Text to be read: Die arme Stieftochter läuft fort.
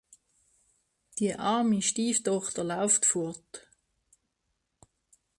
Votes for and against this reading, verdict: 1, 2, rejected